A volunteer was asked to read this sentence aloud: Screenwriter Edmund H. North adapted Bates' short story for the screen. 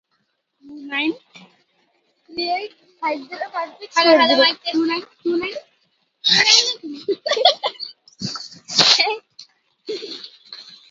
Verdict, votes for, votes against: rejected, 0, 2